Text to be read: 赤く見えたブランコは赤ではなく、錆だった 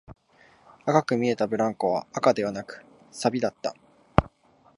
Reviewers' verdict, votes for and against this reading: accepted, 2, 0